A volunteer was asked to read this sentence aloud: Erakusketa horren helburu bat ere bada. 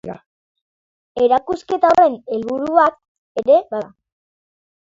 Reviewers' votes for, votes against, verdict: 1, 2, rejected